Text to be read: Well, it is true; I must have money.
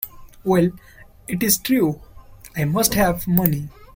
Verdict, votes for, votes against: accepted, 2, 0